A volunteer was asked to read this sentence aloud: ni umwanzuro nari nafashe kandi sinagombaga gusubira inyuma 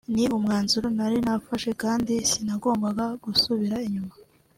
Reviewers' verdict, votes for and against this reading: rejected, 1, 2